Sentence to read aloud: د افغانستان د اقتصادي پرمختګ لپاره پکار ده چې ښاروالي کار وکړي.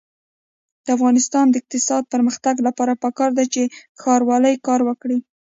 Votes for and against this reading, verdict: 1, 2, rejected